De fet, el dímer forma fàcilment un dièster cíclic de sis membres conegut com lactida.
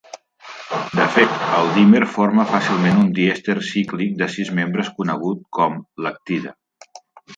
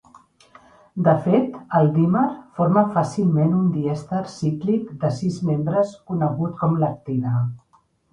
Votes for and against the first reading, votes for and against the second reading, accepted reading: 0, 2, 3, 0, second